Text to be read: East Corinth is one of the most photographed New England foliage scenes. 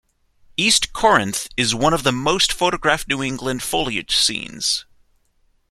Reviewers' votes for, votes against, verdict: 2, 0, accepted